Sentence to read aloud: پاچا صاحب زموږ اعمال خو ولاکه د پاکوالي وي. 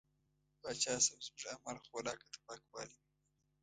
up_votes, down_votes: 2, 1